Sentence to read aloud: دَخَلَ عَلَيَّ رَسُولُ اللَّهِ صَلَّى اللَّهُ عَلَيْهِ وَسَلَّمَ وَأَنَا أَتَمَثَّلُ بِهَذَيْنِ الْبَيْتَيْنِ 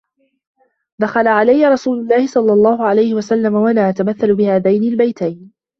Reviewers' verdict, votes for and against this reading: accepted, 2, 1